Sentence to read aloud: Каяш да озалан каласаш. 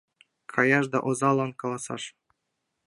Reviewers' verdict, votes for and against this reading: accepted, 2, 0